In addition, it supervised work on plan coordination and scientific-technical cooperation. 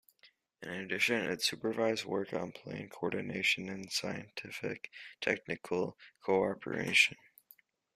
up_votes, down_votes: 1, 2